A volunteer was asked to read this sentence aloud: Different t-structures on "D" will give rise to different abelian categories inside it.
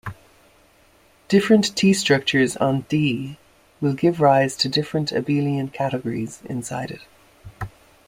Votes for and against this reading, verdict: 2, 0, accepted